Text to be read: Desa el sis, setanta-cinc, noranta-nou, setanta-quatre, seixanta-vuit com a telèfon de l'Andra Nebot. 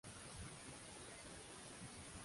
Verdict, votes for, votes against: rejected, 0, 2